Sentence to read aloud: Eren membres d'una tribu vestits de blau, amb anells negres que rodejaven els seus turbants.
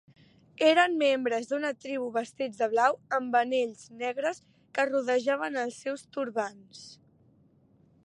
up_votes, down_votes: 0, 2